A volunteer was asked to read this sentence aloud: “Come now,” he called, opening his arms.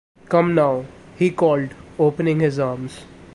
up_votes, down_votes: 2, 0